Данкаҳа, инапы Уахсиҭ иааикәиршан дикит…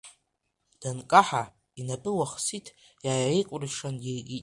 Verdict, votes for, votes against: rejected, 0, 2